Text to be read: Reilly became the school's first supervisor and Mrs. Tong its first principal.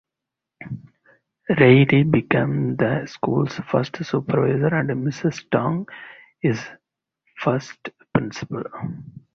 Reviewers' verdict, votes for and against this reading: accepted, 4, 0